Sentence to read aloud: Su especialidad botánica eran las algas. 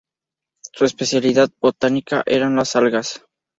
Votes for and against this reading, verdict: 2, 0, accepted